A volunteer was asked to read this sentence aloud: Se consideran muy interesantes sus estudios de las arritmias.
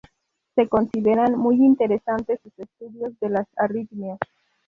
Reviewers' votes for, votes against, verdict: 2, 2, rejected